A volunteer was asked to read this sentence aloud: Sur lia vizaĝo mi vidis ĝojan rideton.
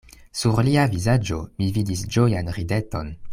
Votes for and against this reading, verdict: 2, 0, accepted